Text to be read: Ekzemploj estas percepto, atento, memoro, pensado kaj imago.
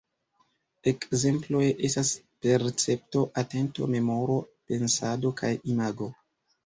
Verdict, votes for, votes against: rejected, 0, 2